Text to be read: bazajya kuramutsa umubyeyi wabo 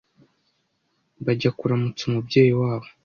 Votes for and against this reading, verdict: 1, 2, rejected